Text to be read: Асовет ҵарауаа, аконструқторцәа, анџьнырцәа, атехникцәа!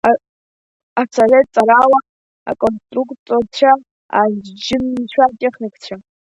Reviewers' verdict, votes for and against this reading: rejected, 0, 2